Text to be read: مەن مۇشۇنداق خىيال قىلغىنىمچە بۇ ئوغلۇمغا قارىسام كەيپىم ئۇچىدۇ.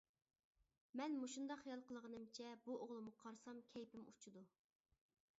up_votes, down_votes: 1, 2